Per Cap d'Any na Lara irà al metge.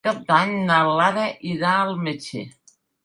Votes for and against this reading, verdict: 0, 2, rejected